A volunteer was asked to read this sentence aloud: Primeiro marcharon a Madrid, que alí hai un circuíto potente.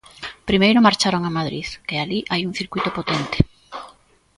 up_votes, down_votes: 2, 0